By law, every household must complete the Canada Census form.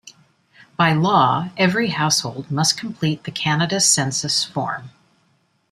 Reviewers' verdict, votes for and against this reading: accepted, 2, 0